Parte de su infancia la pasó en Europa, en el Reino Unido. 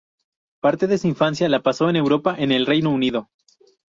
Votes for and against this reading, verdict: 2, 2, rejected